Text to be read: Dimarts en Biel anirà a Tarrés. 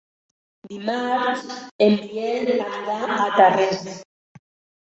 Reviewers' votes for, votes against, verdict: 0, 2, rejected